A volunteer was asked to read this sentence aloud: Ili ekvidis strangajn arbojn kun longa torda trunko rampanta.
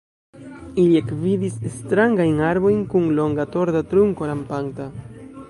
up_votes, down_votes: 3, 2